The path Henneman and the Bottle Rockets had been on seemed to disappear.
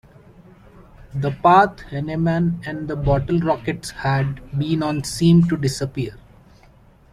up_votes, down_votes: 1, 2